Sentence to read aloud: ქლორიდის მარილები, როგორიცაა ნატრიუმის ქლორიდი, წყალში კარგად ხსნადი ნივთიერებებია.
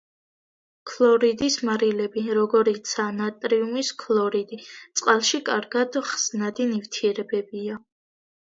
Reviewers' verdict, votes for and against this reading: accepted, 2, 0